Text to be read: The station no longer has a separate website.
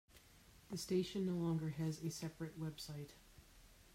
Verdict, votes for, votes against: rejected, 1, 2